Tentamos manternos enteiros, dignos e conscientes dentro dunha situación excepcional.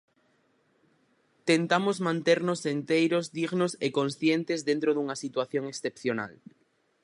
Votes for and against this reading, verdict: 4, 0, accepted